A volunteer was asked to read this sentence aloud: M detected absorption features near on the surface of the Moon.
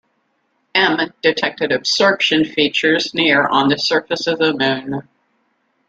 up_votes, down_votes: 2, 0